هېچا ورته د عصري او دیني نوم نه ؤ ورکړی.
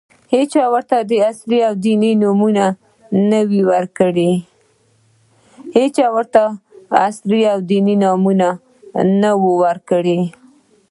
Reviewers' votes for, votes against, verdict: 2, 0, accepted